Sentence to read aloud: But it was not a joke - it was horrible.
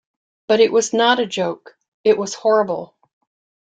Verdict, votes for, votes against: accepted, 2, 0